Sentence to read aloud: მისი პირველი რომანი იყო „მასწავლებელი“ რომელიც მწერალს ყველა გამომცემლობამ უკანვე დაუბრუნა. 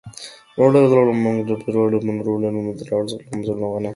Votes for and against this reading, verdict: 0, 2, rejected